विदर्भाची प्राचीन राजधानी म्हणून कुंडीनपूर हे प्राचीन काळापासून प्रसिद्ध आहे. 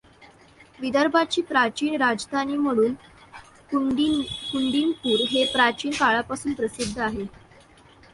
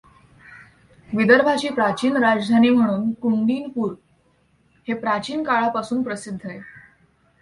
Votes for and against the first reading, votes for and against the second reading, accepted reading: 0, 2, 2, 0, second